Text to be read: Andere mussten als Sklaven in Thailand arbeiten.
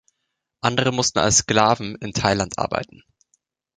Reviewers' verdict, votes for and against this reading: accepted, 2, 0